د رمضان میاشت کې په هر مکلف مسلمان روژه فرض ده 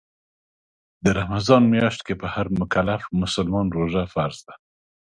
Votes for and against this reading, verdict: 2, 0, accepted